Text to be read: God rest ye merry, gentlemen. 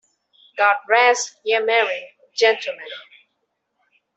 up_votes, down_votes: 2, 0